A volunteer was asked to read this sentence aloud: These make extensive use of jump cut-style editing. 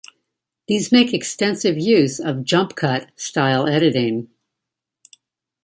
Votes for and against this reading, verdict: 2, 1, accepted